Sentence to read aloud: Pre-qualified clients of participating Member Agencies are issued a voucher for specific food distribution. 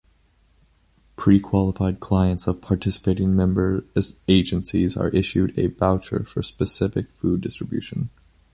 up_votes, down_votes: 0, 2